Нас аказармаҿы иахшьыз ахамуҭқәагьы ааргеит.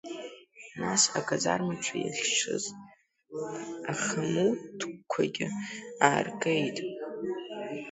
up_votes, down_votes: 0, 2